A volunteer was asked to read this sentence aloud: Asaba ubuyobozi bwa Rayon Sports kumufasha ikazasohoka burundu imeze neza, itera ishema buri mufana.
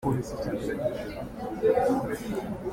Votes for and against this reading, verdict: 0, 2, rejected